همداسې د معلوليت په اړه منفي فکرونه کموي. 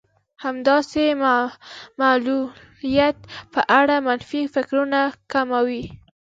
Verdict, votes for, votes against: rejected, 0, 2